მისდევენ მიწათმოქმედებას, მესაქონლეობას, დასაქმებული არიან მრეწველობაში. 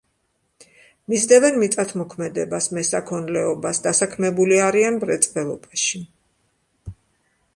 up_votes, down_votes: 2, 0